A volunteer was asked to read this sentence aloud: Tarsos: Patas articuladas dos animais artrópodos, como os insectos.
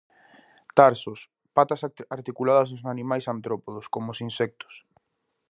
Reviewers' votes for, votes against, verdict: 0, 2, rejected